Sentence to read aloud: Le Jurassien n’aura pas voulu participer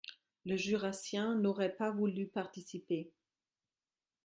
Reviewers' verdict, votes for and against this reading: rejected, 1, 2